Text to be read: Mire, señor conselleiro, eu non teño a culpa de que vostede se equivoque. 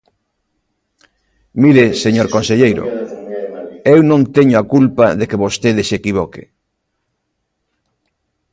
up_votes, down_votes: 0, 2